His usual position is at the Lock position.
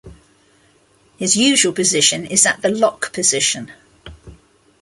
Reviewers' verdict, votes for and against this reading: accepted, 3, 0